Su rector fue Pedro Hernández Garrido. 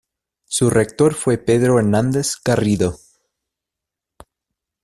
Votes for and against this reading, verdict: 2, 0, accepted